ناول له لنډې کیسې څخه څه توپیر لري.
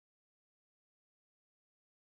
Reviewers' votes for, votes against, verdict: 1, 2, rejected